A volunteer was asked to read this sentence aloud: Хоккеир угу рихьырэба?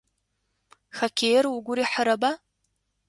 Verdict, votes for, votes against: accepted, 2, 0